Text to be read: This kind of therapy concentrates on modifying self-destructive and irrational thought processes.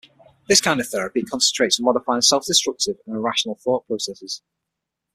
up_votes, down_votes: 3, 6